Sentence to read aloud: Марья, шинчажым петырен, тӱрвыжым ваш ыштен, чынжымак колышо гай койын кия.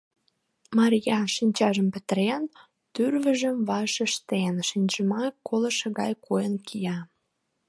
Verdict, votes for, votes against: rejected, 0, 2